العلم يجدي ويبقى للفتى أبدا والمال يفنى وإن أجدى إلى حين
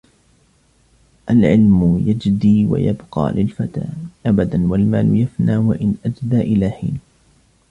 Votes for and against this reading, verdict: 1, 2, rejected